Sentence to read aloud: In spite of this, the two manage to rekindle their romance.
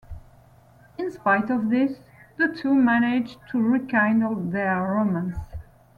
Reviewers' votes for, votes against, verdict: 2, 1, accepted